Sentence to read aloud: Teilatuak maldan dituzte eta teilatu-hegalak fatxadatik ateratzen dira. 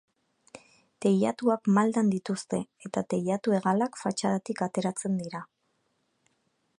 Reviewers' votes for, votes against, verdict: 3, 0, accepted